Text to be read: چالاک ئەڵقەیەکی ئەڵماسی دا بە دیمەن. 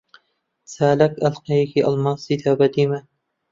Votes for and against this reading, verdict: 0, 2, rejected